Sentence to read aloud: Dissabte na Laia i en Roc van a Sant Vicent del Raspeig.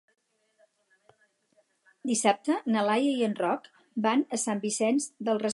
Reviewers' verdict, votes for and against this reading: rejected, 0, 4